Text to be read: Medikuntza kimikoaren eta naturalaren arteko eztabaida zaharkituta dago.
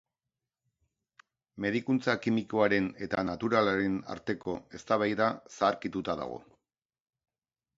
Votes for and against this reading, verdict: 2, 0, accepted